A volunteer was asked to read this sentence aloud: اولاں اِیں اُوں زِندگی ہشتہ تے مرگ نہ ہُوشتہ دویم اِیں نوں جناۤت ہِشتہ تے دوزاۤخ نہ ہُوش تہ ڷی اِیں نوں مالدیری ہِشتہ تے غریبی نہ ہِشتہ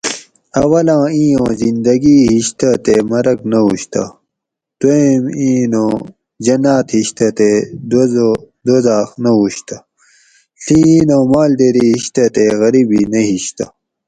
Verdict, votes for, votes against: rejected, 2, 2